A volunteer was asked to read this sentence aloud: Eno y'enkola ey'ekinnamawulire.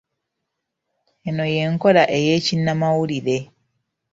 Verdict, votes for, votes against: accepted, 2, 0